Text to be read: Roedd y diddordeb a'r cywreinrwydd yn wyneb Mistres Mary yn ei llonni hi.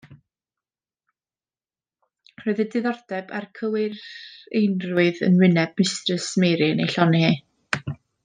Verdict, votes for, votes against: rejected, 0, 2